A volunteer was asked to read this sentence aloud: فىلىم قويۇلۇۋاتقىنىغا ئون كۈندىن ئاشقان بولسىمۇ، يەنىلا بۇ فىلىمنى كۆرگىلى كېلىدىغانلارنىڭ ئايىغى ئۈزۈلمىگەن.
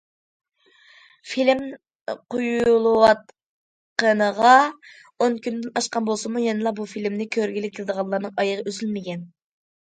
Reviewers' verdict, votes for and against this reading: accepted, 2, 0